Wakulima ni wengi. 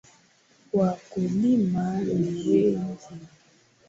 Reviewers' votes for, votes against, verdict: 2, 1, accepted